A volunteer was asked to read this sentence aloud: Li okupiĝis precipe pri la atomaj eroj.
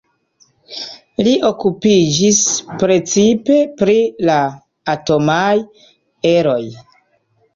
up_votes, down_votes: 1, 2